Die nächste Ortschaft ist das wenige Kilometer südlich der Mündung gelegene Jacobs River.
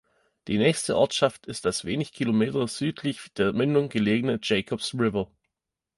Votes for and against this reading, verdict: 0, 2, rejected